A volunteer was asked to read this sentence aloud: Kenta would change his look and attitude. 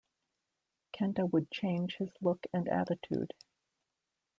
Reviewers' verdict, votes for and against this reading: accepted, 2, 0